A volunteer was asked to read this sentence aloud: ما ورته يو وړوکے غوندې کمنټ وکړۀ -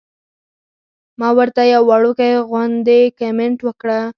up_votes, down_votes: 4, 2